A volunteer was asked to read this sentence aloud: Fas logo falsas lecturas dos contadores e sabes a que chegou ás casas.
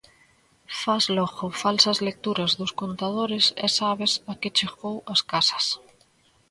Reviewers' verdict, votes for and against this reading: accepted, 2, 0